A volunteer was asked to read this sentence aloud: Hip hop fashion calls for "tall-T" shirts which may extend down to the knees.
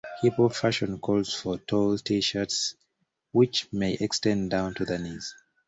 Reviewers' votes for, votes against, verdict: 2, 1, accepted